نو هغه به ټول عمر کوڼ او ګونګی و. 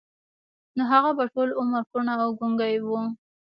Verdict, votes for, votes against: rejected, 1, 3